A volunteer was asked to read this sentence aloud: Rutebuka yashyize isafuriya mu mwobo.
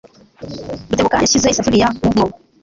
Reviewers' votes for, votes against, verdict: 1, 2, rejected